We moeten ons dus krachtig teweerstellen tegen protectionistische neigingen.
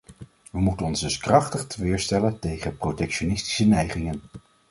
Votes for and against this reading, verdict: 2, 0, accepted